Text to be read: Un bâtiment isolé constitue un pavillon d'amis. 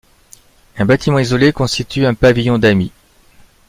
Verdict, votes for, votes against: accepted, 2, 0